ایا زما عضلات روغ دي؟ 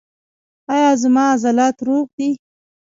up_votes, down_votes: 0, 2